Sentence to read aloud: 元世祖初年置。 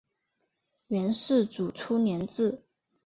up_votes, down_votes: 2, 1